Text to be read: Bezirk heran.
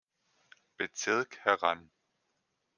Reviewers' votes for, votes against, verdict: 2, 0, accepted